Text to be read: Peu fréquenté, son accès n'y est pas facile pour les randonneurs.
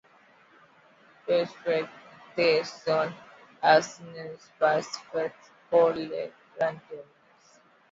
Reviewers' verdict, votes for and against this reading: accepted, 2, 1